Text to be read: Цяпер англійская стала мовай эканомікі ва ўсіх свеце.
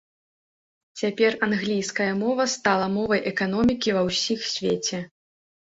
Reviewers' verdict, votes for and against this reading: rejected, 1, 2